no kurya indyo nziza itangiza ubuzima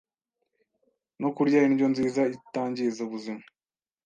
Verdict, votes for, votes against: accepted, 2, 0